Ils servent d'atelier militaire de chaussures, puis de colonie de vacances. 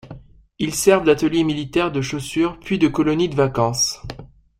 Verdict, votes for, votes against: accepted, 2, 0